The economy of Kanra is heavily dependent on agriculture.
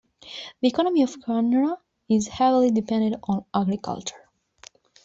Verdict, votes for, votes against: accepted, 2, 0